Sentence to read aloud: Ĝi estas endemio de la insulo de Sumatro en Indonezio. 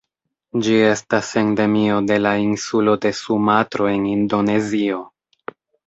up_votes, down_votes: 1, 2